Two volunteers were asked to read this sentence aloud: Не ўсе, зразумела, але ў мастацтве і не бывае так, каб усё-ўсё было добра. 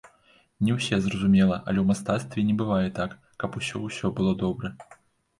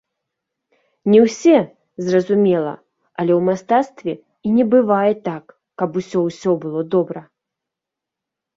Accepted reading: second